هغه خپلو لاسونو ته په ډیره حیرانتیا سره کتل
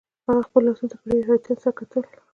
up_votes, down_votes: 2, 1